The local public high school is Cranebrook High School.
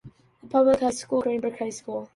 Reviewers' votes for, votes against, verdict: 1, 2, rejected